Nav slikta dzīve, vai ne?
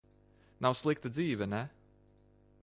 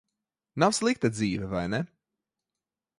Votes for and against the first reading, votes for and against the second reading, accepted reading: 0, 2, 2, 0, second